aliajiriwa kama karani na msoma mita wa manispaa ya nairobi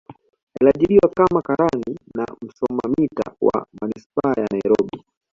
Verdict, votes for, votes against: accepted, 2, 0